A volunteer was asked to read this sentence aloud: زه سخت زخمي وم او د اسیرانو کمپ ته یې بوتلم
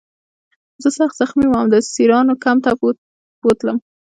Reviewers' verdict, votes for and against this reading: accepted, 2, 0